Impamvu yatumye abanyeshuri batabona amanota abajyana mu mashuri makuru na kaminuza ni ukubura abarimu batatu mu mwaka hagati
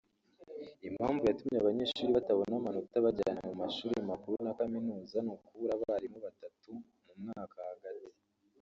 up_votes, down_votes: 1, 2